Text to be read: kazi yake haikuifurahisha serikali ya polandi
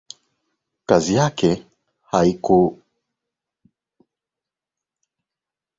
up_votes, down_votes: 1, 2